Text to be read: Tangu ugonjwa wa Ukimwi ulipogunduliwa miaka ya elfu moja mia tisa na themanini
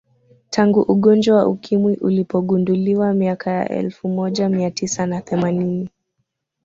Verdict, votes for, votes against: accepted, 2, 0